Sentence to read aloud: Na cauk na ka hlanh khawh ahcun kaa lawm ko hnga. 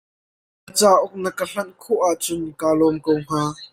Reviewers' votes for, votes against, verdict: 0, 2, rejected